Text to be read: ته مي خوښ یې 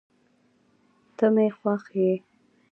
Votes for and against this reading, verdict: 2, 0, accepted